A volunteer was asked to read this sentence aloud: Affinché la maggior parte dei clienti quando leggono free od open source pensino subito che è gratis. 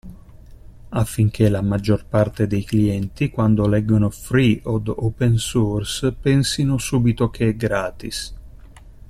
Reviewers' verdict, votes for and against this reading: rejected, 1, 2